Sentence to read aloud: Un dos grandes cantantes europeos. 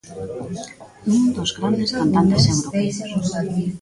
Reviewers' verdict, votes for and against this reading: rejected, 0, 2